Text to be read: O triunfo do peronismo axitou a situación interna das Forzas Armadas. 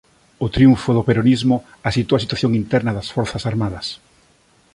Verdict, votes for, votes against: accepted, 2, 0